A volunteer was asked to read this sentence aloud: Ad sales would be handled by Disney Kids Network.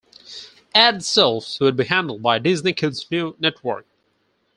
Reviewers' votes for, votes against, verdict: 2, 4, rejected